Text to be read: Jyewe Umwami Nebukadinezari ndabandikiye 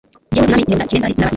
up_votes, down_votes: 1, 3